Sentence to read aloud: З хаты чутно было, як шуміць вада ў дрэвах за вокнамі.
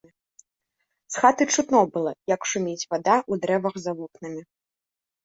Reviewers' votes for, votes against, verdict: 0, 2, rejected